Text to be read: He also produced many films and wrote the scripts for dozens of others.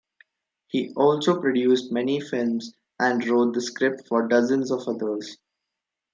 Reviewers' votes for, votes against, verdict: 2, 0, accepted